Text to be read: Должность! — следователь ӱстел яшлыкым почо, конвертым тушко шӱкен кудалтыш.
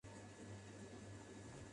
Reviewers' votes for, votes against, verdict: 0, 2, rejected